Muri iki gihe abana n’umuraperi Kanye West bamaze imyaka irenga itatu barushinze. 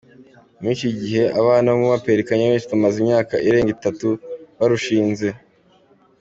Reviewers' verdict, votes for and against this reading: accepted, 2, 1